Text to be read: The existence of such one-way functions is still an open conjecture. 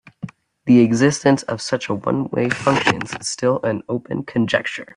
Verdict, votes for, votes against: accepted, 2, 0